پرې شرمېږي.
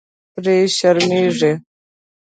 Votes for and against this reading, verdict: 2, 0, accepted